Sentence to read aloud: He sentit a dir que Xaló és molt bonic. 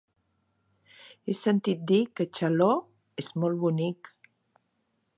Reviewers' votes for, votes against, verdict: 0, 2, rejected